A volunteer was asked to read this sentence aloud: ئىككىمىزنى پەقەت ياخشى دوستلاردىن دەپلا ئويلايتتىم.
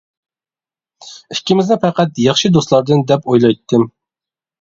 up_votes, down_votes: 0, 2